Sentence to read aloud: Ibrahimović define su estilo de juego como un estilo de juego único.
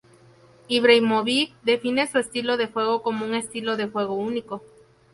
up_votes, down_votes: 0, 2